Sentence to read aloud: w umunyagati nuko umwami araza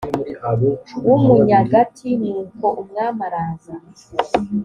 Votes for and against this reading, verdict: 2, 0, accepted